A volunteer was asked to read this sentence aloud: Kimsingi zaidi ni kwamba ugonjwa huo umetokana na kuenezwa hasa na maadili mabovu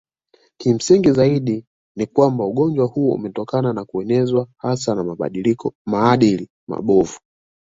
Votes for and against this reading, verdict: 1, 2, rejected